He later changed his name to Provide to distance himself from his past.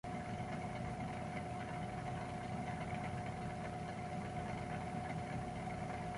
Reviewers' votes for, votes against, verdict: 0, 2, rejected